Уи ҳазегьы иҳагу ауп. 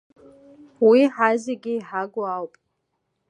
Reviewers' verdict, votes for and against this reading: accepted, 2, 0